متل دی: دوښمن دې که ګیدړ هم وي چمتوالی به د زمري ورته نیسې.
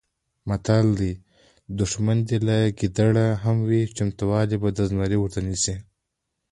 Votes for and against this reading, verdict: 2, 0, accepted